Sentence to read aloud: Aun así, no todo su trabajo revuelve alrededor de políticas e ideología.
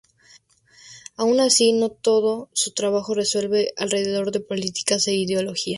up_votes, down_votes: 0, 2